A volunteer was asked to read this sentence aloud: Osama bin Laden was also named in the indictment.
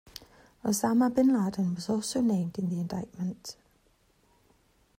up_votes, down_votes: 2, 1